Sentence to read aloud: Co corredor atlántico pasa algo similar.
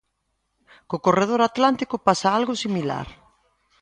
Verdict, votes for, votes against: accepted, 2, 0